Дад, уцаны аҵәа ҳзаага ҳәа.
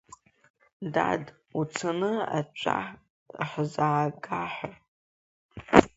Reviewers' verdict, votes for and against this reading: accepted, 2, 1